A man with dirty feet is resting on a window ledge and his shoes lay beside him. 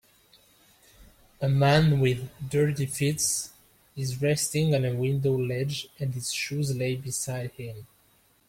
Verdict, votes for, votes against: rejected, 1, 2